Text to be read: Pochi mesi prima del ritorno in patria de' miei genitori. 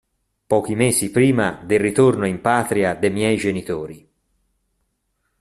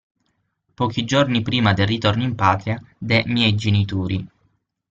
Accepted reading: first